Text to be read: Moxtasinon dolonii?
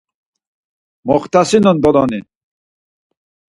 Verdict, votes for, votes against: rejected, 2, 4